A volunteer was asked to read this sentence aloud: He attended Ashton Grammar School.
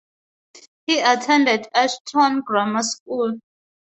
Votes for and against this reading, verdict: 2, 2, rejected